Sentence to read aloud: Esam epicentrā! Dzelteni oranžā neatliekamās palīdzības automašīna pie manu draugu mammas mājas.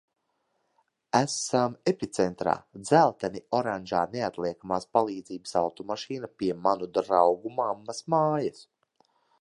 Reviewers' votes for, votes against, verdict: 1, 2, rejected